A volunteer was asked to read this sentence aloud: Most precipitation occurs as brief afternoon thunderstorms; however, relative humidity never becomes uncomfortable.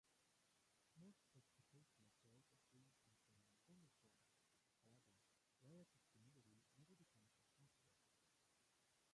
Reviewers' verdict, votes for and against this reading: rejected, 0, 2